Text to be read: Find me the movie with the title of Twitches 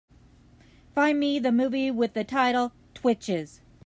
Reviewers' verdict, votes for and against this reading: accepted, 2, 1